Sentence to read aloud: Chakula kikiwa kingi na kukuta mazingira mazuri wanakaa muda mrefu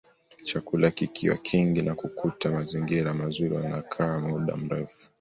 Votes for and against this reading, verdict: 1, 2, rejected